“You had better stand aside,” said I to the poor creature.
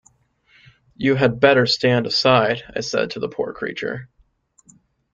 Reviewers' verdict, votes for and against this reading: accepted, 2, 0